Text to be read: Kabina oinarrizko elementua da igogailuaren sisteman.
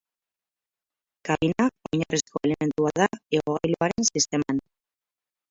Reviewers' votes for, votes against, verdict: 0, 2, rejected